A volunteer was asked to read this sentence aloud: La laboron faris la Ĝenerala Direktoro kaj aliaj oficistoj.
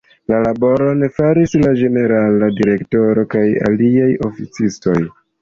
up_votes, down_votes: 2, 0